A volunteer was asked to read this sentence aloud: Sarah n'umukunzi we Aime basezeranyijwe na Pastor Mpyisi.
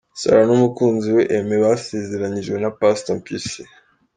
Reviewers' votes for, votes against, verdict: 2, 0, accepted